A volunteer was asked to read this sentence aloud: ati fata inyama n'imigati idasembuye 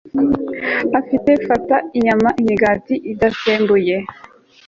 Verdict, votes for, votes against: accepted, 2, 0